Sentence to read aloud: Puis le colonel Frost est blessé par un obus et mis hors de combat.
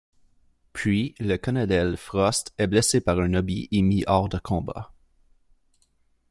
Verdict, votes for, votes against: rejected, 1, 2